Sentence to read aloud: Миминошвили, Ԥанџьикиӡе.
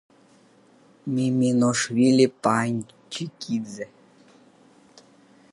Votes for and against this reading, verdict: 1, 5, rejected